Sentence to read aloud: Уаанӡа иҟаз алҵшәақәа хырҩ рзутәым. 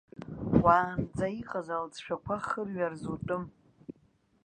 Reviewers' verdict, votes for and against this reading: rejected, 0, 2